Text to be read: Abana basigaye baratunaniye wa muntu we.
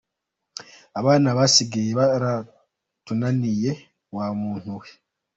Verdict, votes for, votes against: accepted, 2, 1